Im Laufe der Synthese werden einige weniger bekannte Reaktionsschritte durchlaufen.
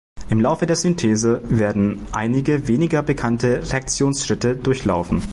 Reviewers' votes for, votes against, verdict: 1, 2, rejected